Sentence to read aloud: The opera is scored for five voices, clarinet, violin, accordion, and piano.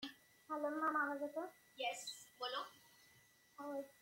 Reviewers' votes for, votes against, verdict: 0, 2, rejected